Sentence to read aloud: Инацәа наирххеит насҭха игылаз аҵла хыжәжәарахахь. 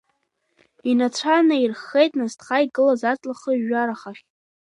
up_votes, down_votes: 2, 1